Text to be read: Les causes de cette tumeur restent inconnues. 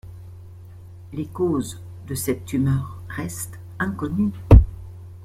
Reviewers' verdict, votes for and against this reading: accepted, 2, 0